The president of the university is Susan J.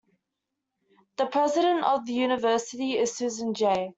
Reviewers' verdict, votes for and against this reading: accepted, 2, 0